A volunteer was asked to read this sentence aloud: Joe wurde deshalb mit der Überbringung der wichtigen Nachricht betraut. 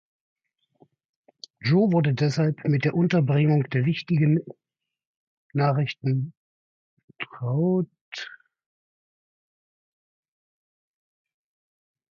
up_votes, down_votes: 0, 2